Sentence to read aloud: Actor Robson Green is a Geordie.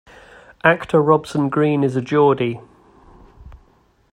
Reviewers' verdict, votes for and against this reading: accepted, 2, 0